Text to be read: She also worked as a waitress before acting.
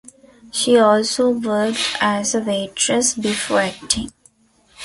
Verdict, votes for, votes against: accepted, 2, 0